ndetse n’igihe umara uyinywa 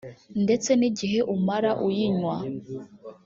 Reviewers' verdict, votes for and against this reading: rejected, 1, 2